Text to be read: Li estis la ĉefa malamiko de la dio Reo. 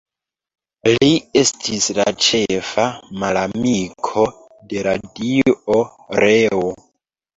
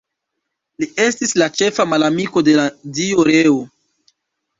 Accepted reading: second